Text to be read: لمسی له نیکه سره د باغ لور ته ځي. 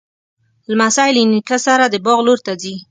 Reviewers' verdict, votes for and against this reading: accepted, 3, 0